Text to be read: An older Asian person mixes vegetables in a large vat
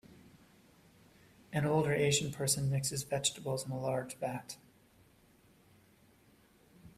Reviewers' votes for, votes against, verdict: 2, 0, accepted